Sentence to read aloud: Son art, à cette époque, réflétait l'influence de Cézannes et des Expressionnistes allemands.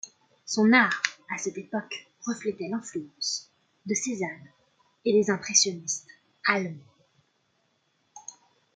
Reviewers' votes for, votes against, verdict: 0, 2, rejected